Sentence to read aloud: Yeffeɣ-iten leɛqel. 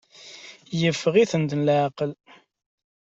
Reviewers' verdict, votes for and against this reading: accepted, 2, 1